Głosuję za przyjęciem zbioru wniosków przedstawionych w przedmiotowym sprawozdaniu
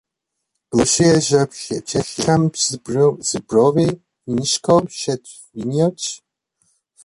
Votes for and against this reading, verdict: 0, 2, rejected